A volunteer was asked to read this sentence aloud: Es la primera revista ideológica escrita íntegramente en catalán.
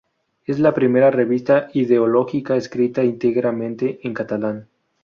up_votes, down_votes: 0, 2